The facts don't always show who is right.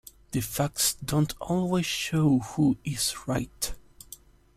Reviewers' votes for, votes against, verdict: 2, 0, accepted